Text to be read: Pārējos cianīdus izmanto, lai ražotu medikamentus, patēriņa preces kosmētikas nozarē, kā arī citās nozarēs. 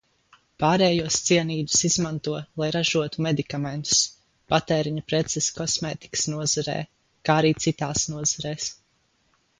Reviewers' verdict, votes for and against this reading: rejected, 0, 2